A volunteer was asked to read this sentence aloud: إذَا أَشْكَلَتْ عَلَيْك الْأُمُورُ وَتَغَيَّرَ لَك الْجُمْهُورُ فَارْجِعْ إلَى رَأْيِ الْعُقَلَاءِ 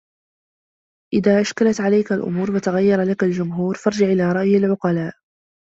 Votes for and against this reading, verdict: 1, 2, rejected